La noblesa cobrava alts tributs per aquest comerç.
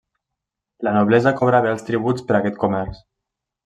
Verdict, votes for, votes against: accepted, 2, 0